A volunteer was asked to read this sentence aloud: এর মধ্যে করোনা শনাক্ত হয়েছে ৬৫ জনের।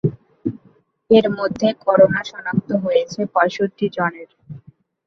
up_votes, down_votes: 0, 2